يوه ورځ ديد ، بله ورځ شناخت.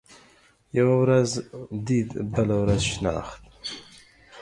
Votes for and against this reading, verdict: 2, 0, accepted